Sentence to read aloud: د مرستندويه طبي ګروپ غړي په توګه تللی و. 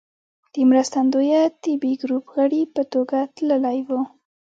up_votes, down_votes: 1, 2